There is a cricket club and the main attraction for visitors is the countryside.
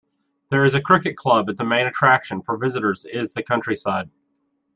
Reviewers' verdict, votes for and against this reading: rejected, 0, 2